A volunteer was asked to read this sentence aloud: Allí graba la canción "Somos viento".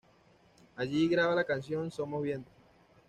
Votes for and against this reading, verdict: 2, 0, accepted